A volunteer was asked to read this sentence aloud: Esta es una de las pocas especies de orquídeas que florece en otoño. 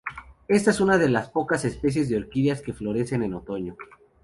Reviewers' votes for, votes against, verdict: 0, 2, rejected